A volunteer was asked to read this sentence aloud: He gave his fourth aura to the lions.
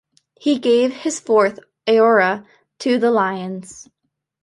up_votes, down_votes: 2, 1